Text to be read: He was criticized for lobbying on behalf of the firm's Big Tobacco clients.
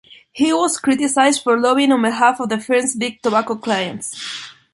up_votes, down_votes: 2, 0